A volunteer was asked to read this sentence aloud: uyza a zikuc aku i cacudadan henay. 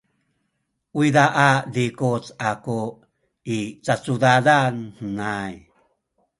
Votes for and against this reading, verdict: 2, 0, accepted